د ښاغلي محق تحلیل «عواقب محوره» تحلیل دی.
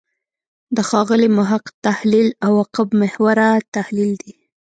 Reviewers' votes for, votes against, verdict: 1, 2, rejected